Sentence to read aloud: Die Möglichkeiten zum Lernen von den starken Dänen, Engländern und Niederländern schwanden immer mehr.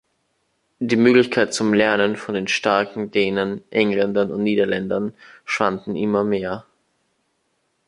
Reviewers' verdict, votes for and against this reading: rejected, 1, 2